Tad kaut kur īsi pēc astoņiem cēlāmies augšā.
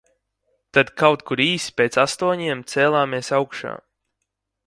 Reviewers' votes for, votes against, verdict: 2, 0, accepted